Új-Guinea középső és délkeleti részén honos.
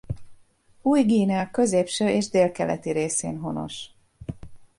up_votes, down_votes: 2, 0